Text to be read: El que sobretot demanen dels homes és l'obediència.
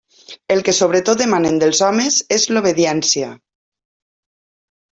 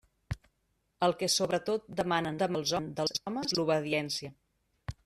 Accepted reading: first